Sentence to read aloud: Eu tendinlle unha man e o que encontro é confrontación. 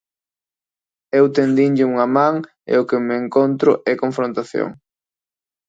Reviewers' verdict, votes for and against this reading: rejected, 1, 2